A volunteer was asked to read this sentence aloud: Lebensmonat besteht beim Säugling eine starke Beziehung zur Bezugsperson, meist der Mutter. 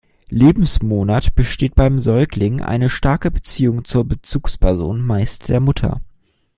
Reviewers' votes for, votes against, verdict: 2, 0, accepted